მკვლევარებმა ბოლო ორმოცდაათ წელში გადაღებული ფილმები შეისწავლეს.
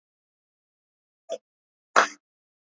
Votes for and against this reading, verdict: 1, 2, rejected